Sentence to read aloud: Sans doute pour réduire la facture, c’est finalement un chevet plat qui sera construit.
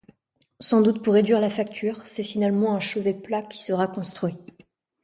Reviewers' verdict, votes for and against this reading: accepted, 2, 0